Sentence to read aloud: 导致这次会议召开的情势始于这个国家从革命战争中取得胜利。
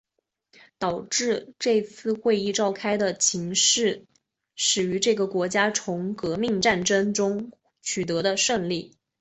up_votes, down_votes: 2, 0